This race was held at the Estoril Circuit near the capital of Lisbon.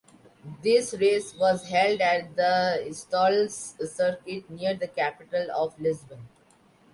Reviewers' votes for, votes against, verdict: 0, 2, rejected